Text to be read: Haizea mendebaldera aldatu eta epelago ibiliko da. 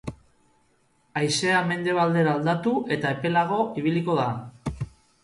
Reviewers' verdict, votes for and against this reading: accepted, 2, 0